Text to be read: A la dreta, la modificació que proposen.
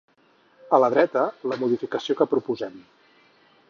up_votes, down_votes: 0, 6